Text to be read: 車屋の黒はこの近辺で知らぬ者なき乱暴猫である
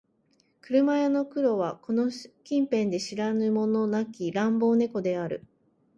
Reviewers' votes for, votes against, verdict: 4, 0, accepted